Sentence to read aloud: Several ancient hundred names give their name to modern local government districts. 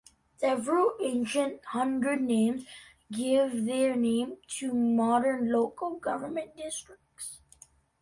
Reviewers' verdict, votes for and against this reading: accepted, 2, 0